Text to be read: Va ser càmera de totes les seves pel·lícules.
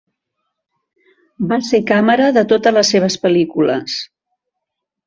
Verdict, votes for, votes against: rejected, 0, 2